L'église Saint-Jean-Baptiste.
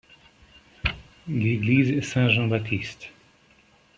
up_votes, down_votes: 2, 0